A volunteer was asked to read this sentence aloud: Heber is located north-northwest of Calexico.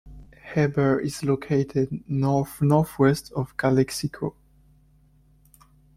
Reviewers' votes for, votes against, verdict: 2, 0, accepted